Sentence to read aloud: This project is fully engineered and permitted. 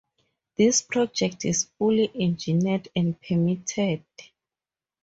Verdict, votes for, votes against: accepted, 4, 0